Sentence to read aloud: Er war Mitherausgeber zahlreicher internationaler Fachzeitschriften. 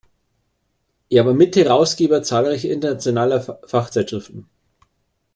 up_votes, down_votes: 1, 2